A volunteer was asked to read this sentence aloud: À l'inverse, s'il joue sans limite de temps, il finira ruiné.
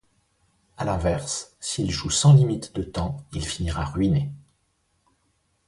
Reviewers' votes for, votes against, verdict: 2, 0, accepted